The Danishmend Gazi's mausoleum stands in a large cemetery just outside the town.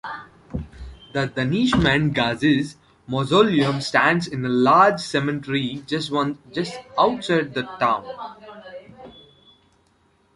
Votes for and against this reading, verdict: 1, 2, rejected